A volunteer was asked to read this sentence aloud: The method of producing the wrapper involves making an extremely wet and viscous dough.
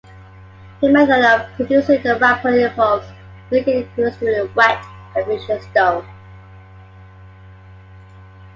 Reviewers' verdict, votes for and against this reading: rejected, 0, 2